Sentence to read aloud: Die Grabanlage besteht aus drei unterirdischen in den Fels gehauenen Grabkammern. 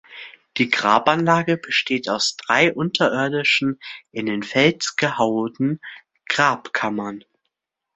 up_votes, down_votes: 2, 1